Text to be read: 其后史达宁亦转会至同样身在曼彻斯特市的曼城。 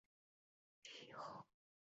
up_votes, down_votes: 0, 2